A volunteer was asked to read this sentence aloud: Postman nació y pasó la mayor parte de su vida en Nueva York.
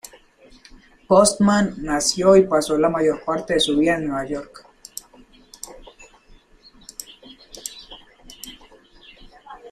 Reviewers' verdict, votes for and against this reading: accepted, 2, 1